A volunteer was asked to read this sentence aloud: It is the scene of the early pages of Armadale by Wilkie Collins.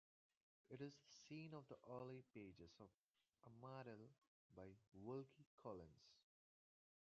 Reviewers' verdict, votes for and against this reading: rejected, 0, 2